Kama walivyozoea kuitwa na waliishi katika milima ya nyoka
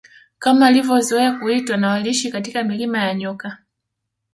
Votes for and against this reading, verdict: 2, 0, accepted